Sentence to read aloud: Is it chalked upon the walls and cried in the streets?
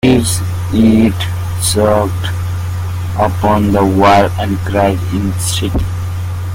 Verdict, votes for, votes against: rejected, 0, 2